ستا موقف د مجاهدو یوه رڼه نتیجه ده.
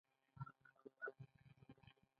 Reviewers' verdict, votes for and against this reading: rejected, 2, 3